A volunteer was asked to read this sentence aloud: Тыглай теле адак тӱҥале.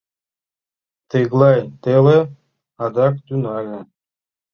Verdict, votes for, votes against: accepted, 2, 0